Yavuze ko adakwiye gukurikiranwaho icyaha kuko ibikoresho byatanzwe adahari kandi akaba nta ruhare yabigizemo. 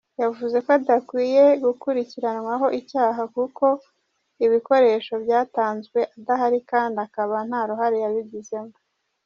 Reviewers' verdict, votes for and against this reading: rejected, 1, 2